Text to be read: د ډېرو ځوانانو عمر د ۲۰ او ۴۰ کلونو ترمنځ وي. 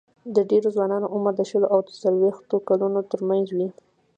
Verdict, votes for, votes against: rejected, 0, 2